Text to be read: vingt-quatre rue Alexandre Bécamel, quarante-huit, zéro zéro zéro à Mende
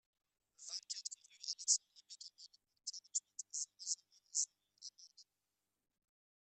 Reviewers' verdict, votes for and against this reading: rejected, 1, 2